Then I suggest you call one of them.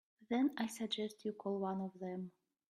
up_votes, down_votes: 3, 0